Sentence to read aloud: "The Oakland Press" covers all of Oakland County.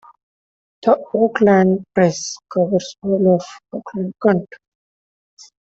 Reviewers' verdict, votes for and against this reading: accepted, 2, 0